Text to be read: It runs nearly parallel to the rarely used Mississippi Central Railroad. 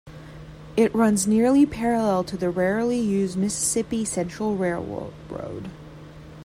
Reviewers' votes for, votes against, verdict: 1, 2, rejected